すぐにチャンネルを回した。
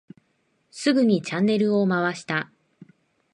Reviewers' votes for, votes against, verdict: 2, 0, accepted